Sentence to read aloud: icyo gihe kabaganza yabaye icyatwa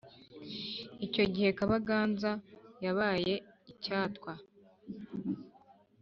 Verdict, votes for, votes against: accepted, 2, 0